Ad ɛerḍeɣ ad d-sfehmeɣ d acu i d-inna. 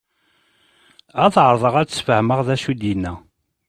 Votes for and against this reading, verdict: 3, 0, accepted